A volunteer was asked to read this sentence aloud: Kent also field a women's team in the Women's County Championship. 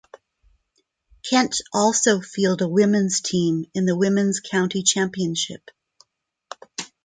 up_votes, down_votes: 2, 0